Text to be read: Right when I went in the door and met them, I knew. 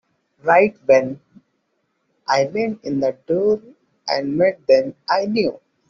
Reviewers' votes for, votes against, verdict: 1, 2, rejected